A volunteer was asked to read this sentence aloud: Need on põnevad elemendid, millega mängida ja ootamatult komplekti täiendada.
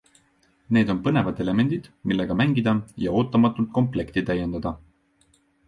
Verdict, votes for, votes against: accepted, 2, 0